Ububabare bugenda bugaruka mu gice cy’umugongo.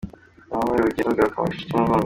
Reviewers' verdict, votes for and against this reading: rejected, 0, 2